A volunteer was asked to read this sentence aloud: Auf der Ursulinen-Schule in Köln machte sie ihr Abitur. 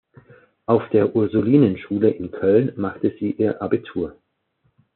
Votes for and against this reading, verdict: 2, 1, accepted